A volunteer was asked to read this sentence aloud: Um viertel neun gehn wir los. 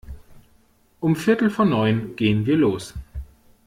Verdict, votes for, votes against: rejected, 0, 2